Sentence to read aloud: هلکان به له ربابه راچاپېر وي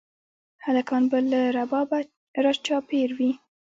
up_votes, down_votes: 1, 2